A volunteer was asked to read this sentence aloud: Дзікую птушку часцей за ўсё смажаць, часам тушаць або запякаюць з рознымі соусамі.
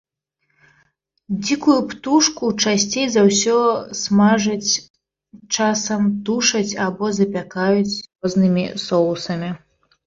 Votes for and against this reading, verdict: 2, 1, accepted